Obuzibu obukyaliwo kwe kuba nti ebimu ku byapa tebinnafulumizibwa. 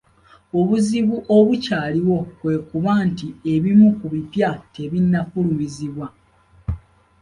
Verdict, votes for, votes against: accepted, 2, 1